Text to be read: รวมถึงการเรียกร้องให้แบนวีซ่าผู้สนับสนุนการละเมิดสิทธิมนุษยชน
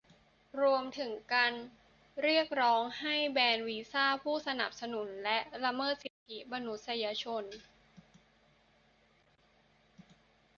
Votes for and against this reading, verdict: 0, 2, rejected